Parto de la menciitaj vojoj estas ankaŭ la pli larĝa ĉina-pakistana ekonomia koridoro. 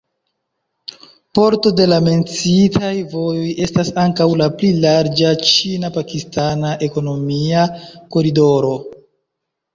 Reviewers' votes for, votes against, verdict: 0, 2, rejected